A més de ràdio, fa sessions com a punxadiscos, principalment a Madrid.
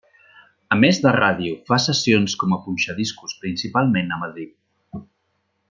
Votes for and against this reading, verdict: 3, 0, accepted